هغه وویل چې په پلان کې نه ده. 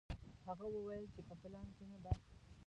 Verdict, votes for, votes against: rejected, 0, 2